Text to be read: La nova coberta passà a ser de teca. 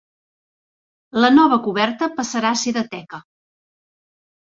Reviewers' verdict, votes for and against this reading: rejected, 0, 2